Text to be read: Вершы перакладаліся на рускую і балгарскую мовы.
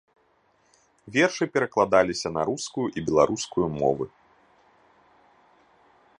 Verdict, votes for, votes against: rejected, 0, 2